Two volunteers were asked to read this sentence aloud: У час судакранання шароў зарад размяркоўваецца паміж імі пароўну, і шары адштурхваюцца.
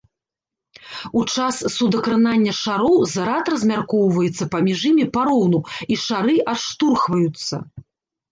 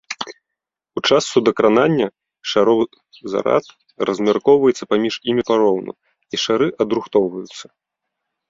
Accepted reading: first